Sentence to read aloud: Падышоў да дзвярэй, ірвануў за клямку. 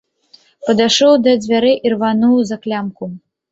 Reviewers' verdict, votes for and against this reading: accepted, 2, 0